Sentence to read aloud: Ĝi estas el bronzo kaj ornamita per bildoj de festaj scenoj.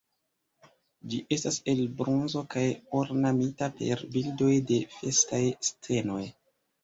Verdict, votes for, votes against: rejected, 1, 2